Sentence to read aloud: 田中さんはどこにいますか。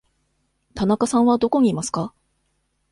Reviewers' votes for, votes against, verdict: 2, 0, accepted